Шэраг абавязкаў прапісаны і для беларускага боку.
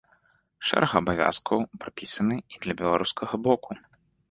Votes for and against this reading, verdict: 2, 0, accepted